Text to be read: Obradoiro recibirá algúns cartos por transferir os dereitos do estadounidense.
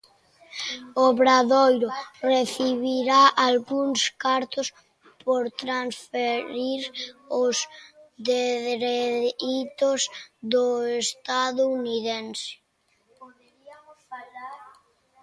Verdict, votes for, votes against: rejected, 1, 2